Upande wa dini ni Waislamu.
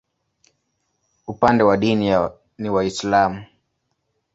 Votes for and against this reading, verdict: 1, 2, rejected